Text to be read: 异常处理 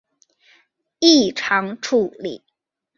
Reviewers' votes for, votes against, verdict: 2, 0, accepted